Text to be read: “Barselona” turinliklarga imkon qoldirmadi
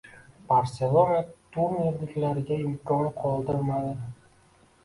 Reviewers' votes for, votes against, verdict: 1, 2, rejected